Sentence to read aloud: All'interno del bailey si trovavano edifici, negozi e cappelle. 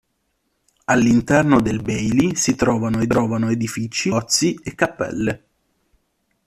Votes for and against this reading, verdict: 0, 2, rejected